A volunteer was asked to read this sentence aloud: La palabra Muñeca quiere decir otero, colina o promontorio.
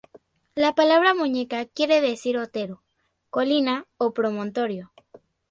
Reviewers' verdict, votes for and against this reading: accepted, 2, 0